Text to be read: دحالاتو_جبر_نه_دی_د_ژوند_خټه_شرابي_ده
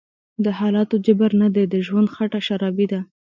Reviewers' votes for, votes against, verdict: 2, 0, accepted